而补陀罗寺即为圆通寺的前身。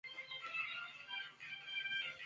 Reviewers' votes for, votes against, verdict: 0, 2, rejected